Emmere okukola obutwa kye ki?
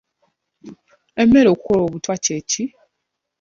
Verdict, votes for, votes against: accepted, 2, 0